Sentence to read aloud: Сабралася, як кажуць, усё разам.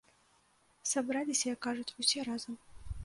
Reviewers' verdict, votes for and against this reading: rejected, 1, 2